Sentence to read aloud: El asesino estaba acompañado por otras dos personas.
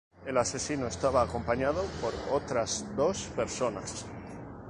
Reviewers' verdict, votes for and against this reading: accepted, 2, 0